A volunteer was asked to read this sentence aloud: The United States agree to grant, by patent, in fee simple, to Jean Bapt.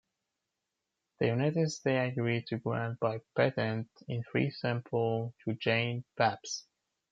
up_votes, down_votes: 0, 2